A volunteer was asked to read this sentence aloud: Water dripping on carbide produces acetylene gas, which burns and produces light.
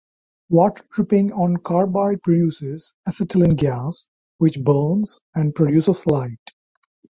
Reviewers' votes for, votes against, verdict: 0, 3, rejected